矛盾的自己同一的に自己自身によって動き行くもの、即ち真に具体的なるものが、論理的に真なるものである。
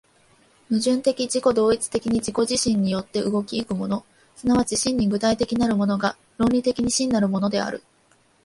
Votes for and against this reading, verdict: 1, 2, rejected